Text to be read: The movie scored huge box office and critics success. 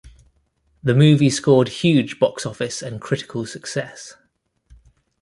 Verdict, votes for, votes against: rejected, 1, 2